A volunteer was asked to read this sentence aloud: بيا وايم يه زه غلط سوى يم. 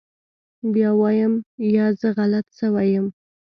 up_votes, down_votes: 1, 2